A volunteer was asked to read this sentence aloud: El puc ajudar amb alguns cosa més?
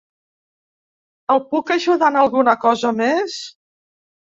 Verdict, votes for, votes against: rejected, 1, 2